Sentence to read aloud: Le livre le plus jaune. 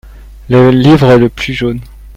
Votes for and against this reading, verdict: 2, 0, accepted